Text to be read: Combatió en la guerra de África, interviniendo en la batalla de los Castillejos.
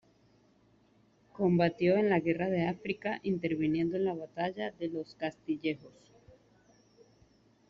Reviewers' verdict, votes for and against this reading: accepted, 2, 0